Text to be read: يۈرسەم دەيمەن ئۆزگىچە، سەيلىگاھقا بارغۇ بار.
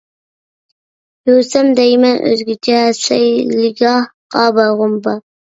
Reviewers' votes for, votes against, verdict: 0, 2, rejected